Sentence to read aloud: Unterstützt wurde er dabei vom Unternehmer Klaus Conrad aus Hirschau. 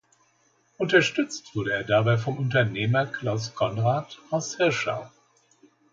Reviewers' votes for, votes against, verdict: 2, 0, accepted